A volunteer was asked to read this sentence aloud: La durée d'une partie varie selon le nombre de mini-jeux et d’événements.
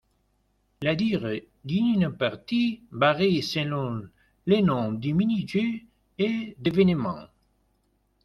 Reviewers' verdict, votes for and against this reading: accepted, 2, 0